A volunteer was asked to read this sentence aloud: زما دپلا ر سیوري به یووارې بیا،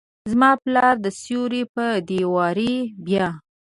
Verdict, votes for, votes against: rejected, 0, 2